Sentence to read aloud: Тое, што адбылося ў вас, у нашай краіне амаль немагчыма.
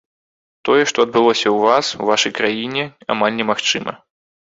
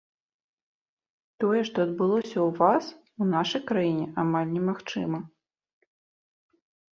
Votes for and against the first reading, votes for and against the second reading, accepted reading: 0, 2, 2, 0, second